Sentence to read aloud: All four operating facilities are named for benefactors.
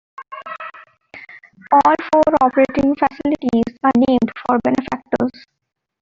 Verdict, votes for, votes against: accepted, 2, 1